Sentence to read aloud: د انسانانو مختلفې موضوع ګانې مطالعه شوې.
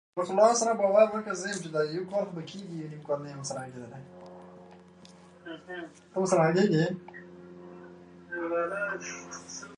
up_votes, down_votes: 0, 2